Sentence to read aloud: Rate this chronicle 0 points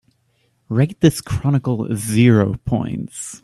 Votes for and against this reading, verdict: 0, 2, rejected